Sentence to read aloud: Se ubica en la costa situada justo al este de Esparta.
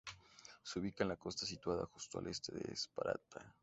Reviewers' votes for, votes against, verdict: 0, 2, rejected